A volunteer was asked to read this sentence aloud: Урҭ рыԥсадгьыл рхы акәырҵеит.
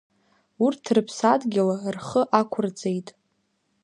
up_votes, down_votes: 2, 0